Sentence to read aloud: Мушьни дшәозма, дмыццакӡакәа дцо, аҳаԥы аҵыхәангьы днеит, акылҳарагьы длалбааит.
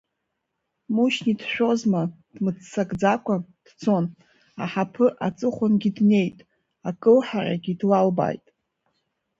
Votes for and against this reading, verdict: 0, 2, rejected